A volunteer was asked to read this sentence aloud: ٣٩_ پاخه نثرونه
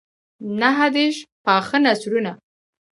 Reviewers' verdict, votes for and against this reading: rejected, 0, 2